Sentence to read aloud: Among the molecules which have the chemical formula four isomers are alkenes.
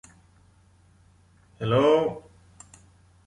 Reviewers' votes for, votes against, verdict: 0, 2, rejected